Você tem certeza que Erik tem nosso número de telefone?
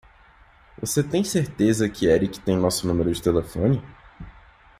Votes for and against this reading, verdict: 2, 0, accepted